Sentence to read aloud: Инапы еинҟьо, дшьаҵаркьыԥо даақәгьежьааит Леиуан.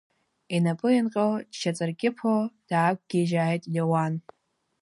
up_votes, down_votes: 2, 0